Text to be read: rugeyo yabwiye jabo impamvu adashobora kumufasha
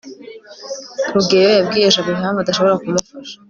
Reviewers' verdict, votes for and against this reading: accepted, 2, 0